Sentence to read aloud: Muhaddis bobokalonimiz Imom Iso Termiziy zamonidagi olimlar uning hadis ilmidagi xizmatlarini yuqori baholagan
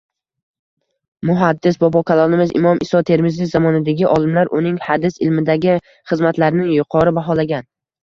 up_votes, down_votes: 1, 2